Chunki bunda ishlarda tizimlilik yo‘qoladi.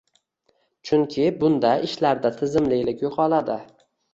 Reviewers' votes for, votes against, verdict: 1, 2, rejected